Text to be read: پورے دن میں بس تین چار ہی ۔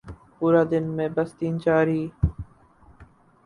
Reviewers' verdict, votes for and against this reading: rejected, 0, 2